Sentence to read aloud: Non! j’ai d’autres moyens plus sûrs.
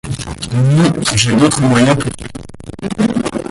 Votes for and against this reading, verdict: 0, 2, rejected